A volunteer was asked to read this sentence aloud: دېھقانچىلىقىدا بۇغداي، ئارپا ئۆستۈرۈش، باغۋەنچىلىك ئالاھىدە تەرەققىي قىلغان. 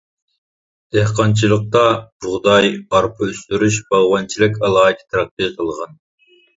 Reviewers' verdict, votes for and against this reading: rejected, 0, 2